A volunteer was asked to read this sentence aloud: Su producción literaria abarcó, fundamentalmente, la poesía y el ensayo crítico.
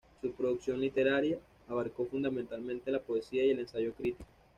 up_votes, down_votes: 2, 0